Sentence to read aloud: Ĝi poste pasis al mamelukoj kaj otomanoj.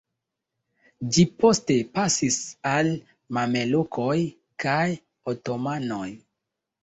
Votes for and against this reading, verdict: 2, 0, accepted